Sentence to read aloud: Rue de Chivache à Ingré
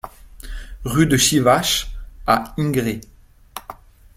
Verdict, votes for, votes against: rejected, 1, 2